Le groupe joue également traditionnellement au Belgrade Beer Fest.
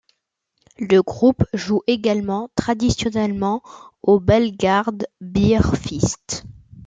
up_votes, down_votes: 0, 2